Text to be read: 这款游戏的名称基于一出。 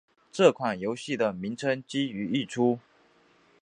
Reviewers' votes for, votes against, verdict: 2, 0, accepted